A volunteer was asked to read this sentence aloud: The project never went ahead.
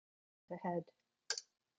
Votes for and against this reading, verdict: 0, 2, rejected